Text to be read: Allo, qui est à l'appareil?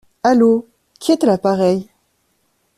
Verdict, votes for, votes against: accepted, 2, 0